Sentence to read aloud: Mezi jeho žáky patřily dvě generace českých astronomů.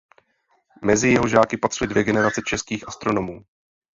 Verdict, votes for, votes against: accepted, 2, 0